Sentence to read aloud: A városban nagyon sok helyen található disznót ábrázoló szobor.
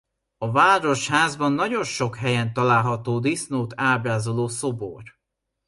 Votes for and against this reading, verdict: 0, 2, rejected